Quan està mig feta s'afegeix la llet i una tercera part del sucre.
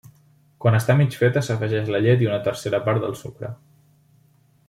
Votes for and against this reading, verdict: 3, 0, accepted